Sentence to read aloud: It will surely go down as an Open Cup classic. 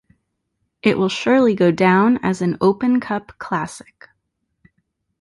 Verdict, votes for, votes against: accepted, 2, 1